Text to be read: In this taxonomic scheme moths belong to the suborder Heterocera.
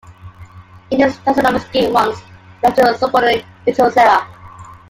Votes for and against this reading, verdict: 0, 2, rejected